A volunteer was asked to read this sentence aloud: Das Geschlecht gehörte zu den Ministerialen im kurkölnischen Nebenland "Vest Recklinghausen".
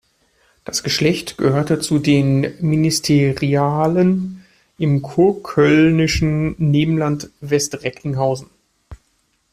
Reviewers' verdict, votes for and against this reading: rejected, 0, 2